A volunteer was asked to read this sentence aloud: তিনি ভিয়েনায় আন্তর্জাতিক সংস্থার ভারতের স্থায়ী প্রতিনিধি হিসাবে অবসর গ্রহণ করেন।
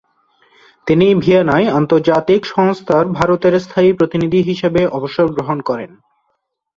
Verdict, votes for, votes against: accepted, 3, 0